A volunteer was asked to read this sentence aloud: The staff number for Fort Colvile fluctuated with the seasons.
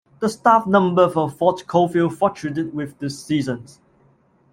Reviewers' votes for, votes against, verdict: 1, 2, rejected